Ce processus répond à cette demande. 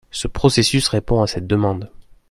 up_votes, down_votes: 2, 0